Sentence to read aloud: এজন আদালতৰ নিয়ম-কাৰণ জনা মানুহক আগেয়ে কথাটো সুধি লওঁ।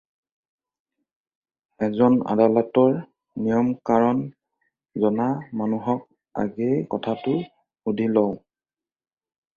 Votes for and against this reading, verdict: 4, 0, accepted